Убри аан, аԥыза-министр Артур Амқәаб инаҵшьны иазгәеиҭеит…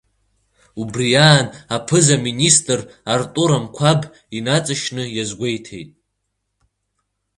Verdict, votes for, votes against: accepted, 3, 0